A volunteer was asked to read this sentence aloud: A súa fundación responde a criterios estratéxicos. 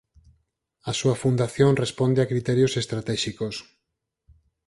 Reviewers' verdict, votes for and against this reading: accepted, 4, 0